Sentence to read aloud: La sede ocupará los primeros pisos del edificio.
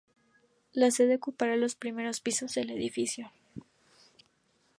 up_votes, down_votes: 4, 0